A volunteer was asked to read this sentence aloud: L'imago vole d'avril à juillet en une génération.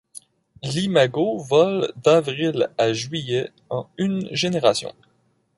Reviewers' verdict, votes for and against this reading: accepted, 2, 0